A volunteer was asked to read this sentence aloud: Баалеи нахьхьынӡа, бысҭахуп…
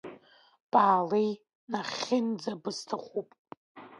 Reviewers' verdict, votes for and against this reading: accepted, 2, 0